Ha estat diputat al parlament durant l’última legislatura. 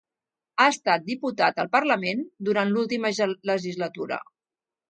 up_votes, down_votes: 0, 2